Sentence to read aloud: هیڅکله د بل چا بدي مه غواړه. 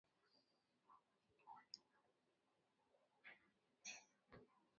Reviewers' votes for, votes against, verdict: 0, 2, rejected